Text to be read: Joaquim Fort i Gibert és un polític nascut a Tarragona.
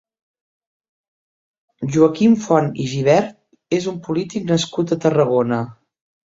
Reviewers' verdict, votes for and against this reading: rejected, 1, 2